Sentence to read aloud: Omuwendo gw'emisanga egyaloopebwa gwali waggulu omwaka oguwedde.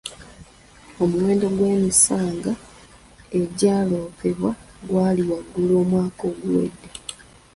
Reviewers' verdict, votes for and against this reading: rejected, 0, 2